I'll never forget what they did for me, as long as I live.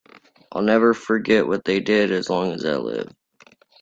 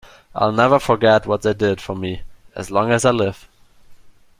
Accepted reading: second